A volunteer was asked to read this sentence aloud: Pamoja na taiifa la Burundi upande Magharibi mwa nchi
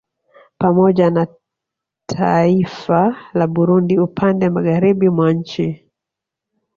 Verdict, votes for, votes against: rejected, 0, 2